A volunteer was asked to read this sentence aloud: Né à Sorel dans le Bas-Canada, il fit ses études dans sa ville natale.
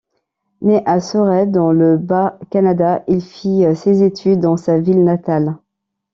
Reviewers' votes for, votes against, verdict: 2, 1, accepted